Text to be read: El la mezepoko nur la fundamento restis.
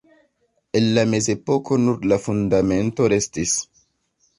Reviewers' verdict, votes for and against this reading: accepted, 2, 0